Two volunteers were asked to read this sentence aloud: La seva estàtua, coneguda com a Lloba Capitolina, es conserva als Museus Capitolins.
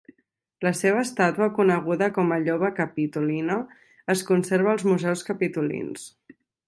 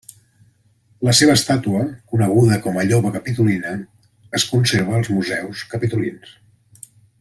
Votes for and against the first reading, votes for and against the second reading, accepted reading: 1, 2, 2, 0, second